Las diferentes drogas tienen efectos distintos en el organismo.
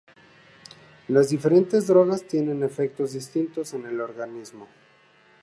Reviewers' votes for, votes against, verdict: 4, 0, accepted